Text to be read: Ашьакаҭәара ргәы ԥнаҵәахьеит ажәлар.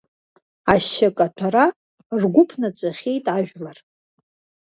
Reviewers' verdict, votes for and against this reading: accepted, 2, 0